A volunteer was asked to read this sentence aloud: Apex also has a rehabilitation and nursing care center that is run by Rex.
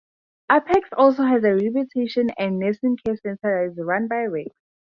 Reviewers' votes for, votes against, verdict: 0, 2, rejected